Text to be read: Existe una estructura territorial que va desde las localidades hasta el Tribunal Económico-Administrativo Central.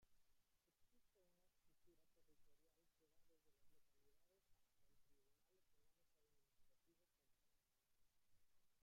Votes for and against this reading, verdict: 0, 2, rejected